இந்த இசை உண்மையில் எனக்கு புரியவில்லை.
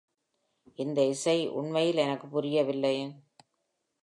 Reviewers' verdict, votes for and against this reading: accepted, 2, 0